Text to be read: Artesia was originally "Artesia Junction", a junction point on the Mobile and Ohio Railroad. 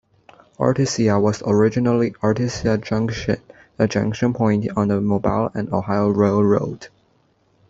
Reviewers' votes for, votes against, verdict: 2, 0, accepted